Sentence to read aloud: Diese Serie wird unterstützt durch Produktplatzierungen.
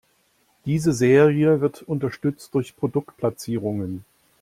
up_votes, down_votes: 2, 0